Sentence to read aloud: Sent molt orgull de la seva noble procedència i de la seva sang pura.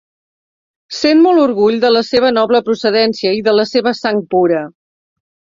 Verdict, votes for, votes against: accepted, 3, 0